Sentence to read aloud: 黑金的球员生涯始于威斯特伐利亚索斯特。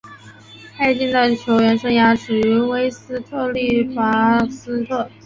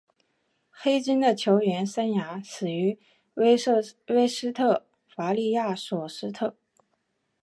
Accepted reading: second